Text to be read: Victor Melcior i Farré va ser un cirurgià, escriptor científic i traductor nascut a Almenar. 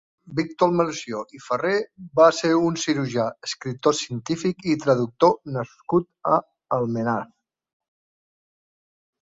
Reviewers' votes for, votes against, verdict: 2, 0, accepted